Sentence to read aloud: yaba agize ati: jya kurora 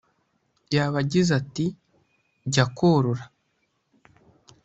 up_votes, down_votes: 2, 1